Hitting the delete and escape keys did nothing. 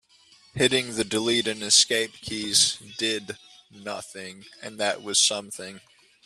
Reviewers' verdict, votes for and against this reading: rejected, 0, 2